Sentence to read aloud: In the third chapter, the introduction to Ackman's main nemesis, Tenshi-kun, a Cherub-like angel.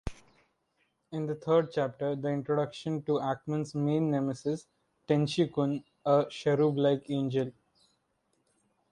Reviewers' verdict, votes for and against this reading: rejected, 1, 2